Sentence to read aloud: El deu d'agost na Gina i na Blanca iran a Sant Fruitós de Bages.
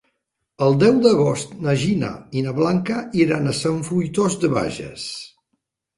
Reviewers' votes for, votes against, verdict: 4, 0, accepted